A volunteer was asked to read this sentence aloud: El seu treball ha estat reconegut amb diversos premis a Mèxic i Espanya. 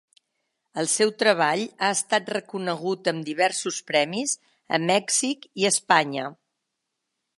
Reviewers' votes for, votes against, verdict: 2, 0, accepted